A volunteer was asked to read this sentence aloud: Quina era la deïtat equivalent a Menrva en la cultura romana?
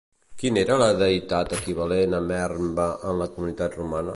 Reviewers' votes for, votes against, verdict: 0, 2, rejected